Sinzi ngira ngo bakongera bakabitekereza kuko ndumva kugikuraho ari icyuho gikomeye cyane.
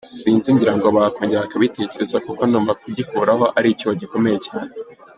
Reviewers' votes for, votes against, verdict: 1, 2, rejected